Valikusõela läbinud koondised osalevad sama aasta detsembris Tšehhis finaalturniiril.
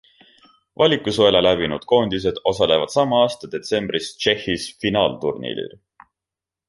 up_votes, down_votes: 2, 0